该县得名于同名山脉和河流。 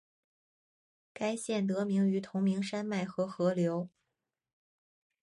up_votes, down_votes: 4, 1